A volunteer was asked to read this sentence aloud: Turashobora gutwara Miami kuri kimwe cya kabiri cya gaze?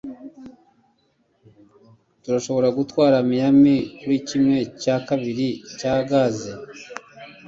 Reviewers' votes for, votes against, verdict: 2, 0, accepted